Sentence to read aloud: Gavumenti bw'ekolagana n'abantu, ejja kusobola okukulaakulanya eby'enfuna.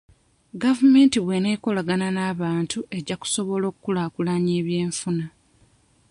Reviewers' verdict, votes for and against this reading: rejected, 1, 2